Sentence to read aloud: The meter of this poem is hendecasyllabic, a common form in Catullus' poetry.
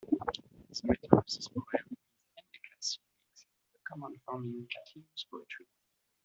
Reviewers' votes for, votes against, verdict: 0, 2, rejected